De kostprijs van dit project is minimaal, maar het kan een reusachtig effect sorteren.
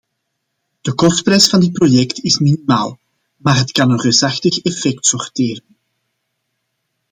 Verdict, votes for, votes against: accepted, 2, 0